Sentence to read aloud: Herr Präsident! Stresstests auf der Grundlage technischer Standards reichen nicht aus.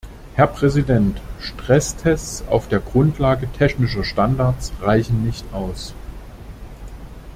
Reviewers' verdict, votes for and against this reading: accepted, 2, 0